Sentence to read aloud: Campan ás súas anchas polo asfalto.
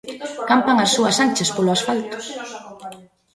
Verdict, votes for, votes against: rejected, 1, 2